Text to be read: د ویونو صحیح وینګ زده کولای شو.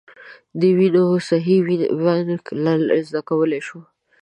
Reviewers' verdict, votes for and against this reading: rejected, 1, 2